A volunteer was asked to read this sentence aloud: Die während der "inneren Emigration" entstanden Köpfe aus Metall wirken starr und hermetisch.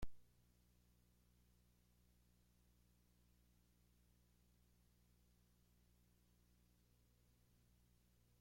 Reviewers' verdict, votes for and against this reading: rejected, 0, 2